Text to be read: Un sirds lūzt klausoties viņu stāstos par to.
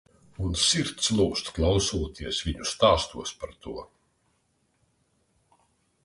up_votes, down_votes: 2, 0